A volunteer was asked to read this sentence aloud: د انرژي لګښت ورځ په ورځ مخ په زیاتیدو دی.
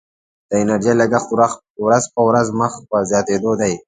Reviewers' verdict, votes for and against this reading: rejected, 1, 2